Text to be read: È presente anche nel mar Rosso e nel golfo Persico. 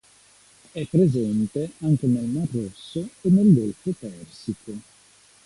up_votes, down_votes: 2, 1